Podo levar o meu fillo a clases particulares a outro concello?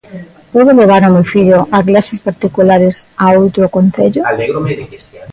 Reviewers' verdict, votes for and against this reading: rejected, 0, 2